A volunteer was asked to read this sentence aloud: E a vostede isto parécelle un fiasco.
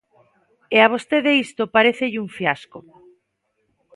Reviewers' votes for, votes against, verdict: 2, 0, accepted